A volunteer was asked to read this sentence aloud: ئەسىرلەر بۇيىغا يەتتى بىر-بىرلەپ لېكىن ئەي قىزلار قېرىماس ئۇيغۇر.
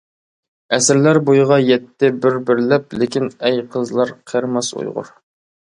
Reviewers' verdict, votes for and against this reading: accepted, 2, 0